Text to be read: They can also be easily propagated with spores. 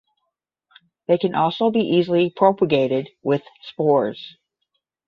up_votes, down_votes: 10, 0